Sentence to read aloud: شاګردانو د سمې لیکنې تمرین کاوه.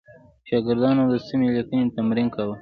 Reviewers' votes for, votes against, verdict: 3, 0, accepted